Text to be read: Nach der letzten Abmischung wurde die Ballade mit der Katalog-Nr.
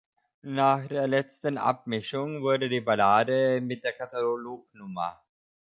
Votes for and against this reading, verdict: 0, 2, rejected